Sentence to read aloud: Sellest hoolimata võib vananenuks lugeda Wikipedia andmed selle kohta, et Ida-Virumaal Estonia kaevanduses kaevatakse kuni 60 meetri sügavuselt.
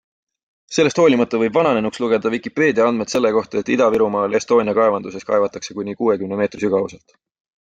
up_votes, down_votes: 0, 2